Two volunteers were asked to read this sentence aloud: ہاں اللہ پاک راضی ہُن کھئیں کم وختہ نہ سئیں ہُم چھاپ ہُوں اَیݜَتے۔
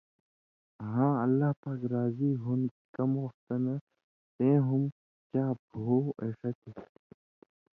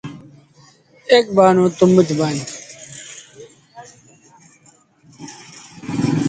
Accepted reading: first